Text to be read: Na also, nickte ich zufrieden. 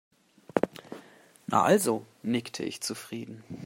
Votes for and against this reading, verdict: 2, 0, accepted